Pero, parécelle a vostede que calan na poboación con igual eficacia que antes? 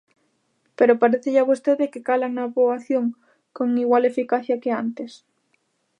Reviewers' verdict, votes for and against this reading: accepted, 2, 0